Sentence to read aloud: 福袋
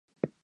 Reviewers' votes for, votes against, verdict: 1, 2, rejected